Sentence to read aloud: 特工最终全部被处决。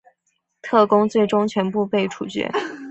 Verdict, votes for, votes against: accepted, 4, 0